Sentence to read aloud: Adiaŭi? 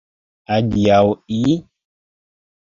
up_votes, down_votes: 1, 2